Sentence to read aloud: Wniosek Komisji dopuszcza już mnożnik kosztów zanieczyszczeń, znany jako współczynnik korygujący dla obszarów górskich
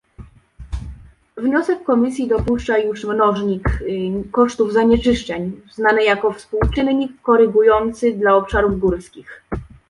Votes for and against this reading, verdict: 0, 2, rejected